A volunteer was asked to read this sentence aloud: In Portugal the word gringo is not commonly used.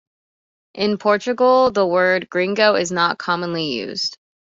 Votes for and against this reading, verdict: 2, 0, accepted